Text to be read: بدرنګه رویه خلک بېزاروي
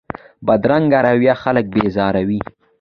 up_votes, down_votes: 2, 0